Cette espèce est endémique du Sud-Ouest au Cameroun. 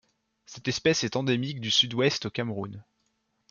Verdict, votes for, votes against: accepted, 2, 0